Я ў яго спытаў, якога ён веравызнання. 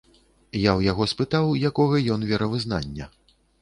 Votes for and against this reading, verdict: 2, 0, accepted